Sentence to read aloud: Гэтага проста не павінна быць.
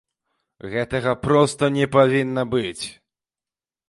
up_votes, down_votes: 2, 0